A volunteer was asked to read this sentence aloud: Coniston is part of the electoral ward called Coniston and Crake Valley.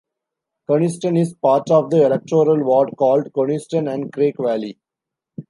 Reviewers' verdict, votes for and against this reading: rejected, 1, 2